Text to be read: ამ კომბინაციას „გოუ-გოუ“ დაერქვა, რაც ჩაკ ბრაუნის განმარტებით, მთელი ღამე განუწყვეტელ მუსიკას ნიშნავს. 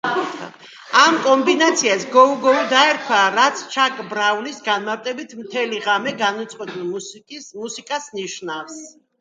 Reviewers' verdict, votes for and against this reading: rejected, 1, 2